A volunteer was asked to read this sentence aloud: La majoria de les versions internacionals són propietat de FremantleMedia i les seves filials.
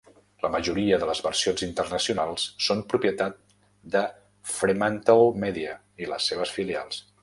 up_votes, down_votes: 0, 2